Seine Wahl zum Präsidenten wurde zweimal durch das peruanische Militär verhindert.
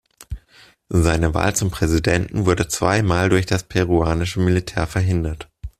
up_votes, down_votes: 2, 0